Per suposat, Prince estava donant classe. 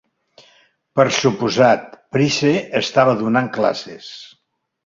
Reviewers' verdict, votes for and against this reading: rejected, 0, 3